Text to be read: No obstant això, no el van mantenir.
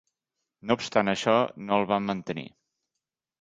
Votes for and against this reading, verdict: 3, 0, accepted